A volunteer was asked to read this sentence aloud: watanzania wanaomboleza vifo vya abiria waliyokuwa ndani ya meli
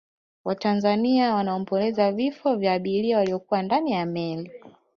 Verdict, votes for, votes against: rejected, 1, 2